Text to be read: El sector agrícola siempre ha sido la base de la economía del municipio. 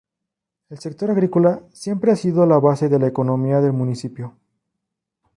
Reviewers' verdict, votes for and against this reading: accepted, 2, 0